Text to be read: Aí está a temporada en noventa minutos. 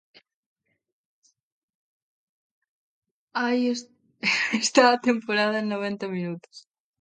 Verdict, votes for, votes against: rejected, 1, 2